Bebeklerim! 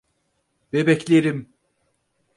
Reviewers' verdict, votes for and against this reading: accepted, 4, 0